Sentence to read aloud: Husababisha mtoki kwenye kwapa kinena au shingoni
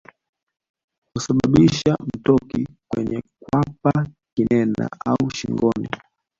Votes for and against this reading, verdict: 1, 2, rejected